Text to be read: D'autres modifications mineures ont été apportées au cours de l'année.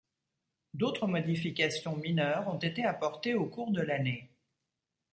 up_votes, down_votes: 2, 0